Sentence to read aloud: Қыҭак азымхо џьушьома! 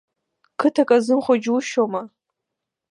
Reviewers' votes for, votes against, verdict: 2, 0, accepted